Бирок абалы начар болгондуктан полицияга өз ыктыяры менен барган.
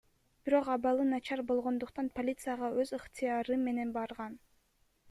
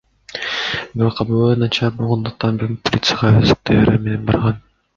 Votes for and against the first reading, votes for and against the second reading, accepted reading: 1, 2, 2, 0, second